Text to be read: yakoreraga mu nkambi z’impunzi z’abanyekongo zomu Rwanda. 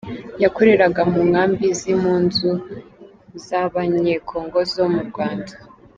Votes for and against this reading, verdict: 3, 1, accepted